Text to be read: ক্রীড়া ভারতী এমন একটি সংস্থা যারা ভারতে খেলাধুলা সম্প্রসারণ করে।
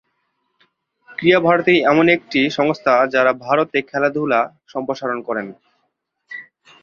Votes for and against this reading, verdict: 1, 2, rejected